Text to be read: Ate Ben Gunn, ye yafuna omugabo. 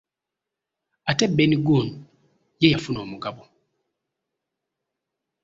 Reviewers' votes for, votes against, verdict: 1, 2, rejected